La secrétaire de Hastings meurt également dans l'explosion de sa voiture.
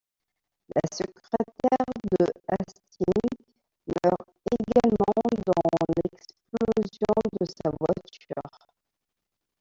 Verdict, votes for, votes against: rejected, 0, 2